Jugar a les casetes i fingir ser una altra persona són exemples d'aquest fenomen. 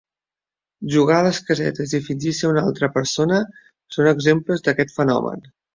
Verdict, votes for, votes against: accepted, 2, 0